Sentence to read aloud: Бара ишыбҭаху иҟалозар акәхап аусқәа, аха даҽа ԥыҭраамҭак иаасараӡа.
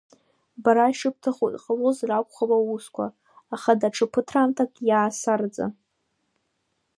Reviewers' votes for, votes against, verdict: 2, 0, accepted